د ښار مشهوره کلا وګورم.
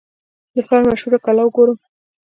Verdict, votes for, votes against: accepted, 3, 0